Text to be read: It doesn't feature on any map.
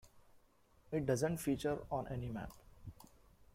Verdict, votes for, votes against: accepted, 2, 1